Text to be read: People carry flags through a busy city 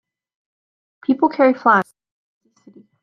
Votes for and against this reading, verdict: 0, 2, rejected